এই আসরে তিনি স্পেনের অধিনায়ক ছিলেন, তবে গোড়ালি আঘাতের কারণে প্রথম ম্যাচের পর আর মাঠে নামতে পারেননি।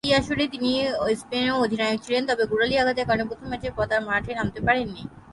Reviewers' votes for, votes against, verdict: 0, 3, rejected